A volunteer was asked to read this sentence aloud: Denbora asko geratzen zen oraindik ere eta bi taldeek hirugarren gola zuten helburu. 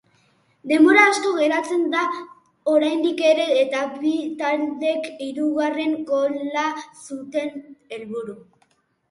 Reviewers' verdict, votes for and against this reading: rejected, 1, 2